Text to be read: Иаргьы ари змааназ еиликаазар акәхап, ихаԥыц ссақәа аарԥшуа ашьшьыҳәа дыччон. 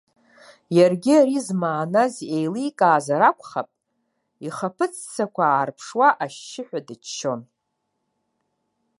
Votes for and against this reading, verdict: 2, 0, accepted